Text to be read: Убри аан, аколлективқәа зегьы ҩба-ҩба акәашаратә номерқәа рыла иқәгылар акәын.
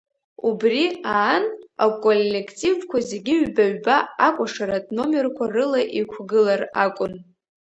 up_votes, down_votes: 1, 2